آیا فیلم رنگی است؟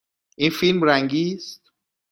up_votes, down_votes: 1, 2